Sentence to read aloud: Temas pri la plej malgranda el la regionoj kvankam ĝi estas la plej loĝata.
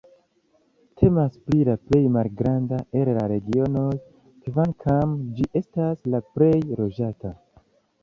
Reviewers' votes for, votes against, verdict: 1, 2, rejected